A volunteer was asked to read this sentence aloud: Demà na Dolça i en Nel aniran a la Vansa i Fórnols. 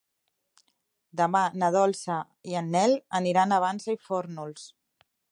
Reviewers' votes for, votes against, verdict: 1, 2, rejected